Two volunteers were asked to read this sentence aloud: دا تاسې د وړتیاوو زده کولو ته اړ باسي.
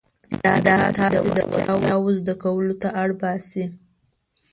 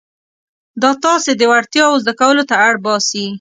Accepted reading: second